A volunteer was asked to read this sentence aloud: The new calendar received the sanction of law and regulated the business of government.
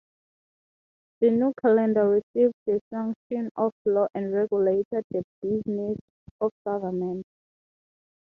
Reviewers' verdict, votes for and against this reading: accepted, 3, 0